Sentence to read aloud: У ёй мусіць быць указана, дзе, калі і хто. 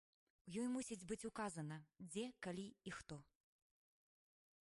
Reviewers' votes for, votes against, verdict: 1, 2, rejected